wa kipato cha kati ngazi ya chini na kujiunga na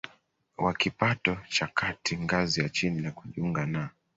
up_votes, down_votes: 2, 0